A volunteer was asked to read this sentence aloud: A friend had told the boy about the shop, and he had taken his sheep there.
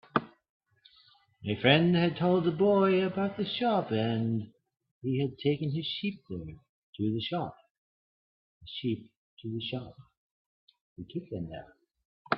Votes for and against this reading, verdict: 0, 2, rejected